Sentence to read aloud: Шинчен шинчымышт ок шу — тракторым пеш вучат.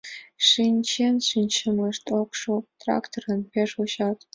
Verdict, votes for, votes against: accepted, 2, 0